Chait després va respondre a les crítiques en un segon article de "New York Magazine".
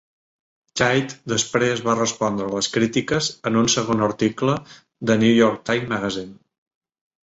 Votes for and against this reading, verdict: 0, 2, rejected